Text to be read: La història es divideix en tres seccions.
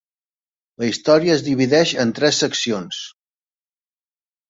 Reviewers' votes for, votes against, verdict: 3, 0, accepted